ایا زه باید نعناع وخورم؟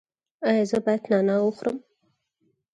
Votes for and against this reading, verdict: 4, 0, accepted